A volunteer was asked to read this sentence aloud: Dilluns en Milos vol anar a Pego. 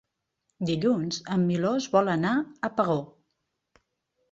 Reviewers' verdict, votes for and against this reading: rejected, 0, 2